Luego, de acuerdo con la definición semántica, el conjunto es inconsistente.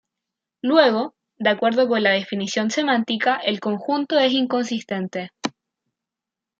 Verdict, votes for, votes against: rejected, 1, 2